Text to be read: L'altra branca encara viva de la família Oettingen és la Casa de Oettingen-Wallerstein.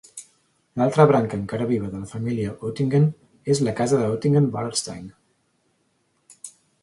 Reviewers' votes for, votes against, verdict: 2, 0, accepted